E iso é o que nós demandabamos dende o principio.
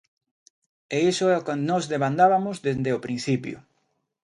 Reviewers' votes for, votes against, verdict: 1, 2, rejected